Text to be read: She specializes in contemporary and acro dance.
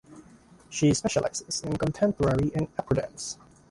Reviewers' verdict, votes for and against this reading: accepted, 3, 1